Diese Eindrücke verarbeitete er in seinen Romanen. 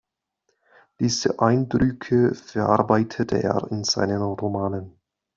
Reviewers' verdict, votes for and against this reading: accepted, 2, 0